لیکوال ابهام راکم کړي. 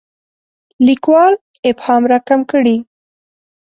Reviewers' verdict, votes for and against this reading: accepted, 2, 0